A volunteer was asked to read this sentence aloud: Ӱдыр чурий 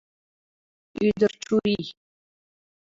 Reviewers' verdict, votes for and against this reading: rejected, 0, 2